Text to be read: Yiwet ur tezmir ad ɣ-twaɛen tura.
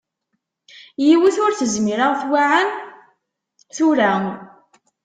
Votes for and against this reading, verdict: 1, 2, rejected